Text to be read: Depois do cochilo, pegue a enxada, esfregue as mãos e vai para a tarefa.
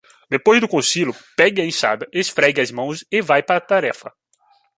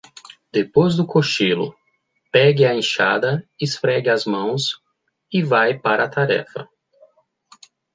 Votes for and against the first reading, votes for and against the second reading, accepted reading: 1, 2, 2, 0, second